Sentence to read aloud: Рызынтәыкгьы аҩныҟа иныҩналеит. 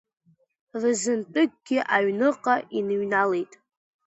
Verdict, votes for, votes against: accepted, 2, 0